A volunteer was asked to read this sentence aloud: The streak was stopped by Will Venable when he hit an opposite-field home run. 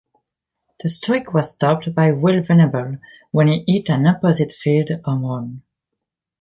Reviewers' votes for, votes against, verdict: 2, 0, accepted